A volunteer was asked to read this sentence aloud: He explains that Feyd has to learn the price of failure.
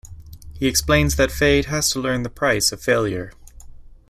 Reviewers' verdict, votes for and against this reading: accepted, 2, 0